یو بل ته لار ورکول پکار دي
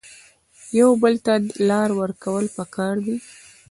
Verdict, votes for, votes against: accepted, 2, 0